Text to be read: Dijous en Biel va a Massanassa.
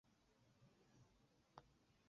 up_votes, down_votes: 2, 8